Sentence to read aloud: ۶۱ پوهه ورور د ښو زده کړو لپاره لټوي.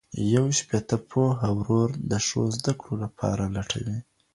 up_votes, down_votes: 0, 2